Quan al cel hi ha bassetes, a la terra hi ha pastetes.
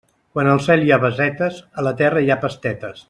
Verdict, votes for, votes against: rejected, 0, 2